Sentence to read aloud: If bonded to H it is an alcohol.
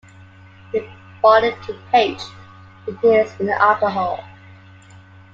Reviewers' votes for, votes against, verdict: 2, 0, accepted